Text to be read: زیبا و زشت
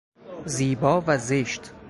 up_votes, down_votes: 2, 0